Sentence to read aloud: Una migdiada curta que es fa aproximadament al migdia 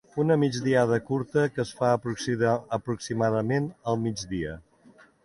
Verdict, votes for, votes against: rejected, 1, 2